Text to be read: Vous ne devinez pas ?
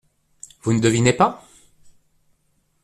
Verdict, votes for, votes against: accepted, 2, 0